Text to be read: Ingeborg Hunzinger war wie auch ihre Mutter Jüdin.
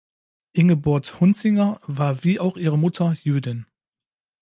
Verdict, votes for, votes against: rejected, 0, 2